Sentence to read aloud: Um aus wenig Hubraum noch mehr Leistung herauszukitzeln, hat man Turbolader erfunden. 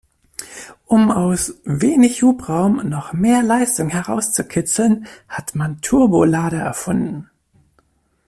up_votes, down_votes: 2, 0